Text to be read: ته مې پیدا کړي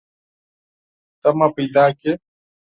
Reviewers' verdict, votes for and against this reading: rejected, 0, 4